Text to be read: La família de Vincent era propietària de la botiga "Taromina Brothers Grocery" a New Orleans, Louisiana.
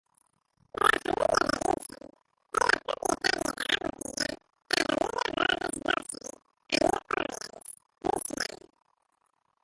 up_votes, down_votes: 0, 2